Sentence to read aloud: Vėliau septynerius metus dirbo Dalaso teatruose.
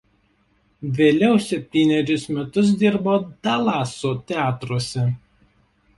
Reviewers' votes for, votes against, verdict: 1, 2, rejected